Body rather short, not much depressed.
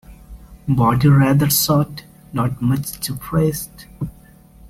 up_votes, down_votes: 2, 1